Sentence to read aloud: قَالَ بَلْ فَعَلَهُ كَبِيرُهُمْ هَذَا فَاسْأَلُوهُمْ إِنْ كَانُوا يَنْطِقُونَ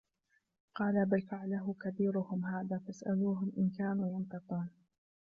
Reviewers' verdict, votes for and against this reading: rejected, 0, 2